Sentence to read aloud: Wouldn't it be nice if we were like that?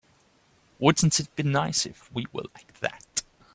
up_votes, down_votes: 2, 1